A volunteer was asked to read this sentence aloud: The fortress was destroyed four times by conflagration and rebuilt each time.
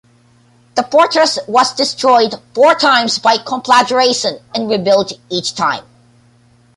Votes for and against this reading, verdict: 2, 0, accepted